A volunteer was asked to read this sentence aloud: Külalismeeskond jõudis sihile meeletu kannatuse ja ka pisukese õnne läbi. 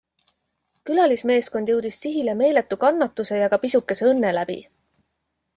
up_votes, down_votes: 2, 0